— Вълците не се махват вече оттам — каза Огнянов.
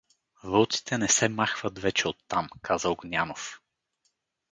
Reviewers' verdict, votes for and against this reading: accepted, 4, 0